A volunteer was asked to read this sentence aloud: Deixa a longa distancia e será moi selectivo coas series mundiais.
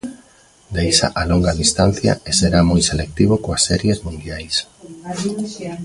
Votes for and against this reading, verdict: 0, 2, rejected